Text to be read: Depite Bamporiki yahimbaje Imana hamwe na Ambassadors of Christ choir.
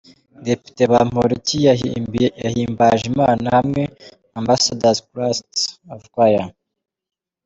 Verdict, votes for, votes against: rejected, 0, 2